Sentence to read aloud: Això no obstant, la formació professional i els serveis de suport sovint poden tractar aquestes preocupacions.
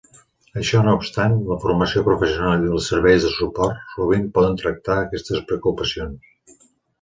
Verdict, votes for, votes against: accepted, 2, 0